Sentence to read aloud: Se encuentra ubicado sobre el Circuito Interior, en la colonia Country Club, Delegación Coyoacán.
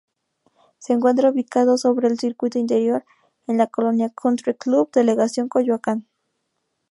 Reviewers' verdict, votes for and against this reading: accepted, 4, 0